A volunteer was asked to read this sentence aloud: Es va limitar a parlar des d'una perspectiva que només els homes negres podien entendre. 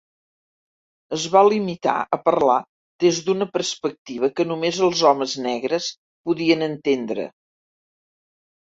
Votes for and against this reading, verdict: 4, 0, accepted